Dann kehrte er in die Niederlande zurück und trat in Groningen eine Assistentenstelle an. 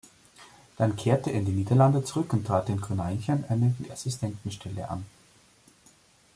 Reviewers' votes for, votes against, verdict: 1, 3, rejected